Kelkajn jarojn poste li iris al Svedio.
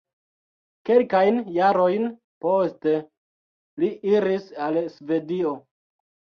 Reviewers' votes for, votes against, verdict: 2, 0, accepted